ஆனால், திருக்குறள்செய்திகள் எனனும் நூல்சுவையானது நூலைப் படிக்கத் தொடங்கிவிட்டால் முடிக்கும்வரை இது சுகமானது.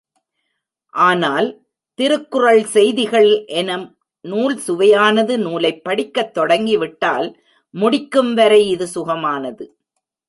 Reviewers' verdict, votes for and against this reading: rejected, 0, 2